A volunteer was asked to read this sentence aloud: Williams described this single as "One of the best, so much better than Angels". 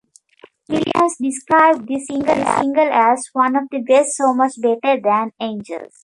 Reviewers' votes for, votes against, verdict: 0, 2, rejected